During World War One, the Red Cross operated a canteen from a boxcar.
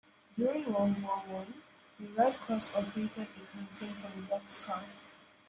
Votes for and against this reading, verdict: 2, 0, accepted